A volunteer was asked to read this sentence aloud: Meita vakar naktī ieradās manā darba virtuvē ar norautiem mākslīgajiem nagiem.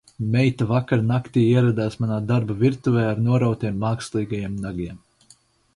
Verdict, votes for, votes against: accepted, 4, 2